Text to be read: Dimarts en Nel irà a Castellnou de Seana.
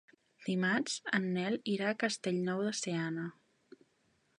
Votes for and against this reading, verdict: 3, 0, accepted